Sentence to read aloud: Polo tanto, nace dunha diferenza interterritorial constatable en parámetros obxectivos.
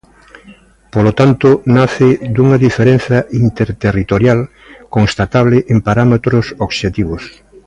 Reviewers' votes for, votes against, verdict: 2, 0, accepted